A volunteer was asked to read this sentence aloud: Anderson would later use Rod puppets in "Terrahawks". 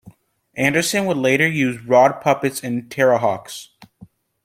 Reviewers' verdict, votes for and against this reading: accepted, 2, 0